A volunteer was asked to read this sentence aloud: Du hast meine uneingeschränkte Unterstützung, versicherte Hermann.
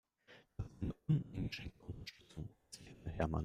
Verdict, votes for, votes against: rejected, 0, 2